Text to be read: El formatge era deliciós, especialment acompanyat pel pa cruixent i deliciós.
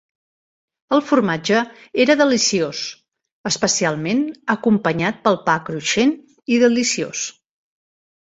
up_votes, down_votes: 3, 0